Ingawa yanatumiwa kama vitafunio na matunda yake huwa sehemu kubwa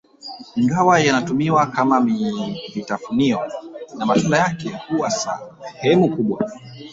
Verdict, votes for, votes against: rejected, 1, 2